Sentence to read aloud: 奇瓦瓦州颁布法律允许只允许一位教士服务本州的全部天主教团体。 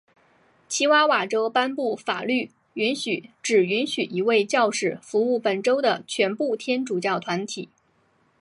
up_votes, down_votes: 2, 0